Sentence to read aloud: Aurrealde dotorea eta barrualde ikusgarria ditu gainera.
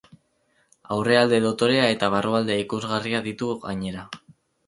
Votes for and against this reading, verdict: 2, 2, rejected